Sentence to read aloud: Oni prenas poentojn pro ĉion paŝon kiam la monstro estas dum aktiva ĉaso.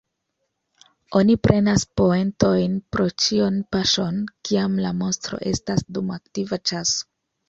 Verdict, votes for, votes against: accepted, 2, 0